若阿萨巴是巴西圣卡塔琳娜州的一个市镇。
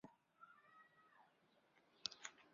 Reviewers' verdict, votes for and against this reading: rejected, 0, 2